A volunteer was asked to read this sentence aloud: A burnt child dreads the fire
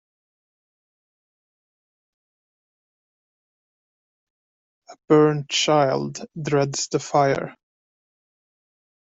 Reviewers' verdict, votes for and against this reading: accepted, 2, 0